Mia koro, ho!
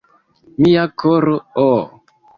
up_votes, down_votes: 1, 2